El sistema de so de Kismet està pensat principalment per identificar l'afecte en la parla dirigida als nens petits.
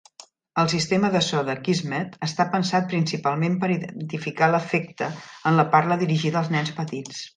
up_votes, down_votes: 2, 0